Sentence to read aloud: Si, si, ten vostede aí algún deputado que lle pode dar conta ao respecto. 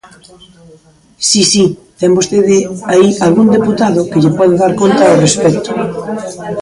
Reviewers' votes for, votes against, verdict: 1, 2, rejected